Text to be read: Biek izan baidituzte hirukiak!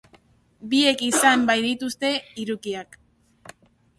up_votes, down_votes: 2, 0